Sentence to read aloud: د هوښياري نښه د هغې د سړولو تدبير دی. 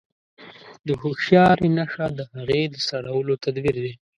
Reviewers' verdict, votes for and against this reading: rejected, 0, 2